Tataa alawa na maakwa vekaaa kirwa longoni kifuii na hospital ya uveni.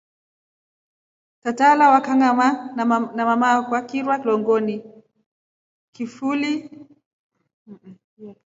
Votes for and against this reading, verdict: 1, 3, rejected